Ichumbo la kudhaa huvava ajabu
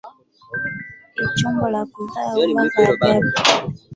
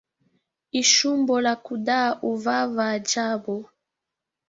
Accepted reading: first